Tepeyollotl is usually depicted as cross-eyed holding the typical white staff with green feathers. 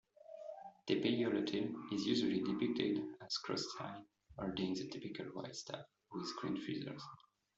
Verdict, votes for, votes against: rejected, 0, 2